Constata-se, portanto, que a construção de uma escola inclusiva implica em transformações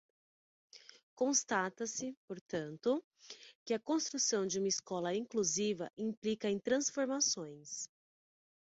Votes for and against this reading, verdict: 6, 0, accepted